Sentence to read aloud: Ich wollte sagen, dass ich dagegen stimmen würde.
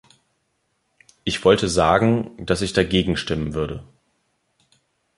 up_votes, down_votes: 2, 0